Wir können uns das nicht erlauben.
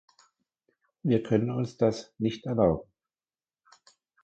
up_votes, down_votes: 2, 0